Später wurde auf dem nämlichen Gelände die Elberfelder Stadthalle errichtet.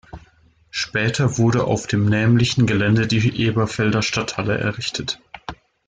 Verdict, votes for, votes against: rejected, 0, 2